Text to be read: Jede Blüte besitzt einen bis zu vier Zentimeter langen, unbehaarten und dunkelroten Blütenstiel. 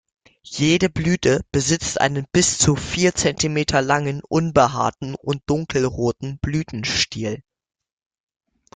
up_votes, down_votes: 2, 1